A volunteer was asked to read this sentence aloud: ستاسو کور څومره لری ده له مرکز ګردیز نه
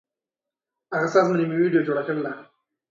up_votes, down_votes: 0, 3